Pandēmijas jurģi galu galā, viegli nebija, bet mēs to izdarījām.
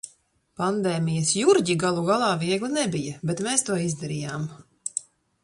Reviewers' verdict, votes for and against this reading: accepted, 2, 1